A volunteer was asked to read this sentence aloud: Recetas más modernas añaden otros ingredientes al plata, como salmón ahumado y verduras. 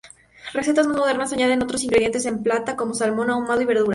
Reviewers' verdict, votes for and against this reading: rejected, 0, 2